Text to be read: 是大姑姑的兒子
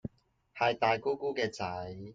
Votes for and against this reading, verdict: 0, 2, rejected